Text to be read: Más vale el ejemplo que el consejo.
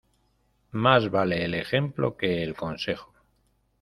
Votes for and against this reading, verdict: 2, 0, accepted